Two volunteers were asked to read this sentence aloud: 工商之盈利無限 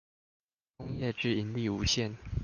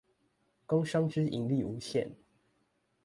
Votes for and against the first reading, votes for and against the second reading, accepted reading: 0, 2, 2, 0, second